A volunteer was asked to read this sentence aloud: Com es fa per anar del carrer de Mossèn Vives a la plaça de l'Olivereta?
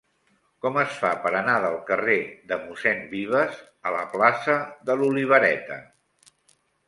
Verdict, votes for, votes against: accepted, 3, 0